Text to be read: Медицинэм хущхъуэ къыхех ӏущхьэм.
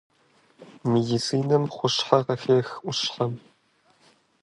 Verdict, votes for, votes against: rejected, 1, 2